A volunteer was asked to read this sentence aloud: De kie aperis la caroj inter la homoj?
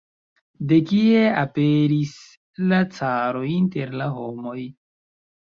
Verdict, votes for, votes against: accepted, 2, 0